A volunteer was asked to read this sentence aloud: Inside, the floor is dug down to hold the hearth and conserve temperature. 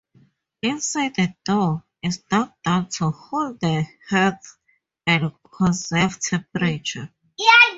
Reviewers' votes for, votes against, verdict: 0, 4, rejected